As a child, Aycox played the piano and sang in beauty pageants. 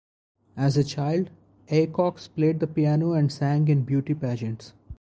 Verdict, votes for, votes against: rejected, 2, 2